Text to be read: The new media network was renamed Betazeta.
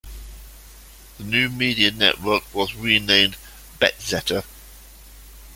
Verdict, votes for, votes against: rejected, 0, 2